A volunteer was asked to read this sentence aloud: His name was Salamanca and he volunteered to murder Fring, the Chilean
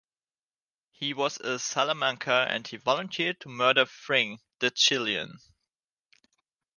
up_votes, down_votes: 0, 2